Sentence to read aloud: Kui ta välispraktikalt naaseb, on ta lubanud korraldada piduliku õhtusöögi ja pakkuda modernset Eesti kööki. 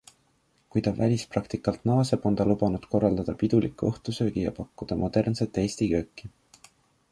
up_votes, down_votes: 2, 0